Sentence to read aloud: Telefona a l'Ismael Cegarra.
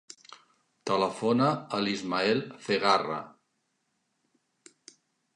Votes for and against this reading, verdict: 0, 2, rejected